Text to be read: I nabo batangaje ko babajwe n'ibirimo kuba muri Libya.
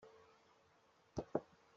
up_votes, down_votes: 0, 2